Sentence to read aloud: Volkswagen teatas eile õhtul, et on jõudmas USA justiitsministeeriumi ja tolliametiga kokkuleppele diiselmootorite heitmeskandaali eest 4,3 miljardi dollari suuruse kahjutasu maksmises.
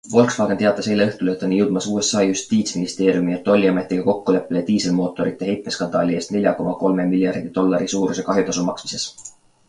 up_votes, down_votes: 0, 2